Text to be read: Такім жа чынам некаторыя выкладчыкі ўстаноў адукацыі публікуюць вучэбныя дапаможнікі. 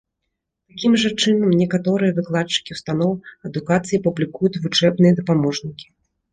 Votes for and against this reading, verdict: 1, 2, rejected